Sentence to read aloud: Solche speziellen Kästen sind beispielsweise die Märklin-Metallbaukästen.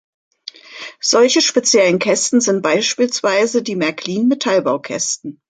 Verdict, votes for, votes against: accepted, 2, 0